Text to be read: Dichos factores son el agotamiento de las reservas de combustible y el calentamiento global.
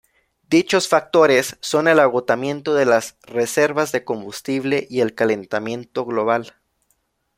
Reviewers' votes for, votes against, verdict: 2, 0, accepted